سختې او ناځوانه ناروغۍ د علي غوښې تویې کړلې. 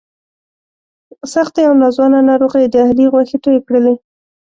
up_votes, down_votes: 2, 0